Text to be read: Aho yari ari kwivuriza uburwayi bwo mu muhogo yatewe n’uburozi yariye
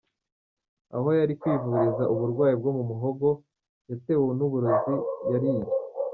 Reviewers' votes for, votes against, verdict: 1, 2, rejected